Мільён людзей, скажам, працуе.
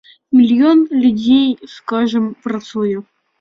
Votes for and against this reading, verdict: 2, 0, accepted